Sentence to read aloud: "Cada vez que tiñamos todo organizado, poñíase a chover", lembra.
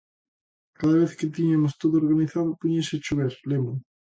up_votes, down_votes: 0, 2